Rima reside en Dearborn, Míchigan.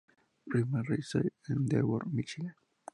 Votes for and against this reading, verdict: 0, 2, rejected